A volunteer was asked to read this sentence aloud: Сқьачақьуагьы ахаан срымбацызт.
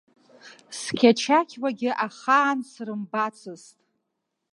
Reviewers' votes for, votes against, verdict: 2, 0, accepted